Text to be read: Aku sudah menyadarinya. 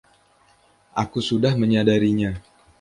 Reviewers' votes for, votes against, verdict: 2, 1, accepted